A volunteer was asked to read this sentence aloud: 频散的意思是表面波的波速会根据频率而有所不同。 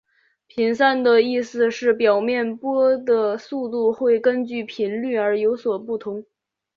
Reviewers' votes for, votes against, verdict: 2, 3, rejected